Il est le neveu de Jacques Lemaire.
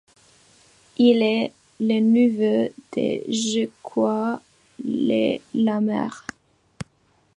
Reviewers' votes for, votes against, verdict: 2, 1, accepted